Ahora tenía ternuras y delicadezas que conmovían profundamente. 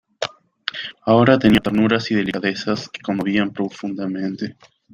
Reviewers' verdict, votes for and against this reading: rejected, 1, 2